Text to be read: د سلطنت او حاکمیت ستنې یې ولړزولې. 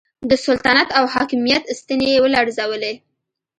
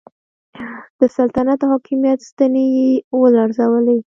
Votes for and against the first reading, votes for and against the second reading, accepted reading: 2, 0, 0, 2, first